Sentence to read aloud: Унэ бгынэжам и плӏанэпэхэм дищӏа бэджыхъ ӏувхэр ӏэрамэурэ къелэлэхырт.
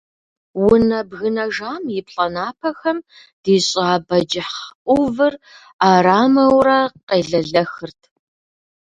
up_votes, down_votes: 1, 2